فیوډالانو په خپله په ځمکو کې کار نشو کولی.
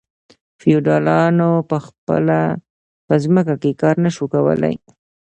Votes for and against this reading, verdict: 2, 1, accepted